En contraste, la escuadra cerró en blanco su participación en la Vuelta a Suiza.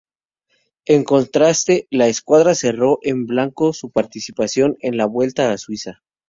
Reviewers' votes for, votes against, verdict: 2, 0, accepted